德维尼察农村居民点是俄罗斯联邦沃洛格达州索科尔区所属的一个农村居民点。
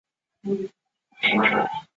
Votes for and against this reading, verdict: 4, 2, accepted